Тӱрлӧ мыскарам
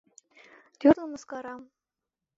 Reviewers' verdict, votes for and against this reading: accepted, 2, 0